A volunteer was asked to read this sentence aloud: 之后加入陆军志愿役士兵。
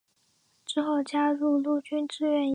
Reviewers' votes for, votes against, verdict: 1, 2, rejected